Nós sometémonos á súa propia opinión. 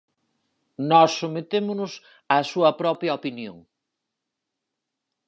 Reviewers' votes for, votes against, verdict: 4, 0, accepted